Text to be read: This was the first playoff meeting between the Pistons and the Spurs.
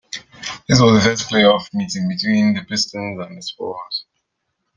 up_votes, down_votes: 2, 1